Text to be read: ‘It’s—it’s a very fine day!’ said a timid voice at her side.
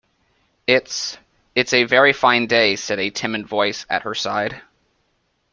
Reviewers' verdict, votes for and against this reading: accepted, 2, 0